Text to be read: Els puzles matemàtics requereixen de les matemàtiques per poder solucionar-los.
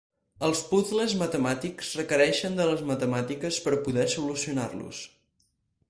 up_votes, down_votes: 4, 0